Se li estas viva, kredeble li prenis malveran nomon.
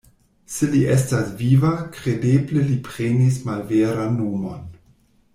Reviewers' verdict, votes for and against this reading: rejected, 1, 2